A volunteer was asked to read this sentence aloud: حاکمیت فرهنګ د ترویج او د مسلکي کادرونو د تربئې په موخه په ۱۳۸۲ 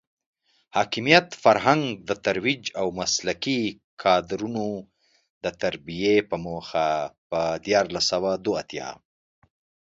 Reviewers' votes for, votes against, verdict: 0, 2, rejected